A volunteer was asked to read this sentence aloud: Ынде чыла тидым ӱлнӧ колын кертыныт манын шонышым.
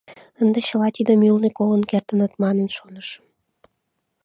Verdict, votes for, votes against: accepted, 2, 0